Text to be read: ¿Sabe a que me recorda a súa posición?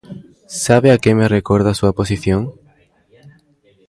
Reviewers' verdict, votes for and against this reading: rejected, 1, 2